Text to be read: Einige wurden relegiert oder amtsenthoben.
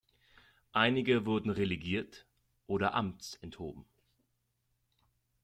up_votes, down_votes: 2, 0